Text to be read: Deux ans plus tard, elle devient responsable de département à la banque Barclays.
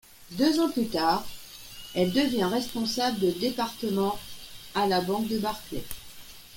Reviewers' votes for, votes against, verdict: 1, 2, rejected